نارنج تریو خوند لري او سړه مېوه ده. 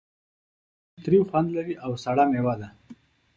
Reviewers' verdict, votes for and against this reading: rejected, 3, 4